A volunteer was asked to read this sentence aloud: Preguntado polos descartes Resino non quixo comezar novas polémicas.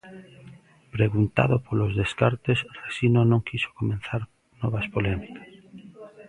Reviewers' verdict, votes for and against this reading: rejected, 1, 2